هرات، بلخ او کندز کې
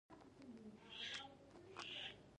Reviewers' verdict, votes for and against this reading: rejected, 0, 2